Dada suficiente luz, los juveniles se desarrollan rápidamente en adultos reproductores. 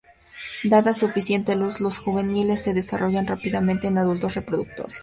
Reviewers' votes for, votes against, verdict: 2, 0, accepted